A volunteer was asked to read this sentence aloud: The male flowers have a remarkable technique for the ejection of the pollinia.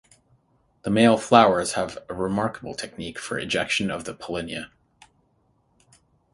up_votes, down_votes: 0, 6